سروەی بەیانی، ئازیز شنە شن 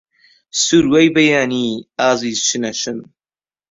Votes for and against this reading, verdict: 2, 0, accepted